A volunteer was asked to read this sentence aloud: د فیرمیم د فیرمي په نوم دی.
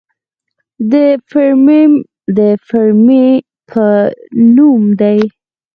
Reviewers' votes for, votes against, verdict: 4, 0, accepted